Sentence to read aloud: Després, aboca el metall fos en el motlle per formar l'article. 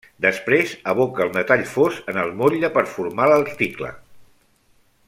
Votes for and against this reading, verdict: 1, 2, rejected